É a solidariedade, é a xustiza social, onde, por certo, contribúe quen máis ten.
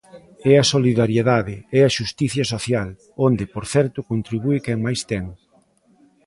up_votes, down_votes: 1, 3